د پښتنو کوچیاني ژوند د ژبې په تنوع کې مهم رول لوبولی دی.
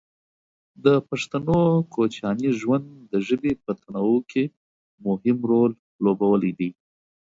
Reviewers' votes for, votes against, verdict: 1, 2, rejected